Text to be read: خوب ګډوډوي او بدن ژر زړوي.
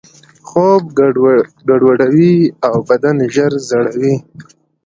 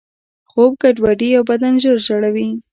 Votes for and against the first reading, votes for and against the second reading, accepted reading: 2, 0, 1, 2, first